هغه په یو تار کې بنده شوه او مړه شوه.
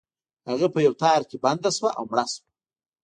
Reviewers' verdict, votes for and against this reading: rejected, 0, 2